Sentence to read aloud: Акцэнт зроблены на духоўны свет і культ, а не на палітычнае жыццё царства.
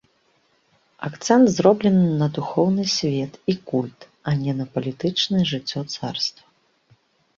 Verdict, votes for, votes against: accepted, 2, 0